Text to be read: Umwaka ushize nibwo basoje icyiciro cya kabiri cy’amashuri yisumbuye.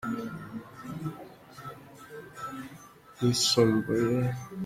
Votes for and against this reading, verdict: 0, 2, rejected